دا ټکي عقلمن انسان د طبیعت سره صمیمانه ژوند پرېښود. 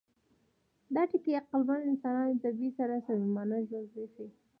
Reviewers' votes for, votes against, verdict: 2, 1, accepted